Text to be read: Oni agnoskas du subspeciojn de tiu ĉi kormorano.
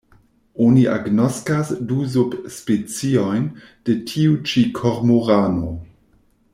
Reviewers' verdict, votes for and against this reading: rejected, 1, 2